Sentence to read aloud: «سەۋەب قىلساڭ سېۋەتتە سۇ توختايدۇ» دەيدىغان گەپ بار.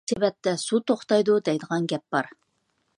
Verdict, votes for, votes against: rejected, 0, 2